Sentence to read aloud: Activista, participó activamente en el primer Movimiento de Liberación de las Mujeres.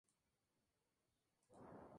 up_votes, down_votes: 0, 4